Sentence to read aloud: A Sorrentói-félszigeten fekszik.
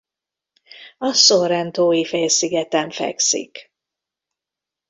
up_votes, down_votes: 2, 0